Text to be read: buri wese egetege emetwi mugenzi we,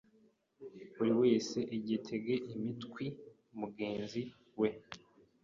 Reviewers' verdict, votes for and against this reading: rejected, 0, 2